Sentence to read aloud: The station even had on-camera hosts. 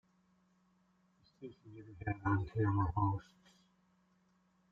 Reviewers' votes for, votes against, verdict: 0, 2, rejected